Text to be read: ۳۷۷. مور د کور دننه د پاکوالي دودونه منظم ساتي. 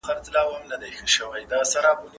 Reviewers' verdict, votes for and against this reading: rejected, 0, 2